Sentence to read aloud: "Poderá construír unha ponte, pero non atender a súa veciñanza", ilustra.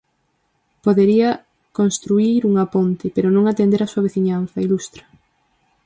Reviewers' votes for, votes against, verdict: 0, 4, rejected